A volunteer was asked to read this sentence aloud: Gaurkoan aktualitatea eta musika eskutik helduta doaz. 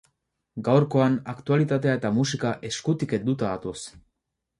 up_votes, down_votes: 2, 2